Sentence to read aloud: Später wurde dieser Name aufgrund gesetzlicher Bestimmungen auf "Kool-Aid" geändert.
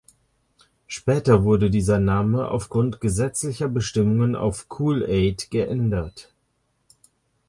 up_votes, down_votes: 2, 0